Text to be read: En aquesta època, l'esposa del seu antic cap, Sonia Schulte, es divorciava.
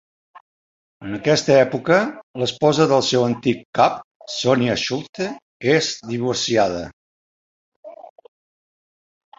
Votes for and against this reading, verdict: 1, 2, rejected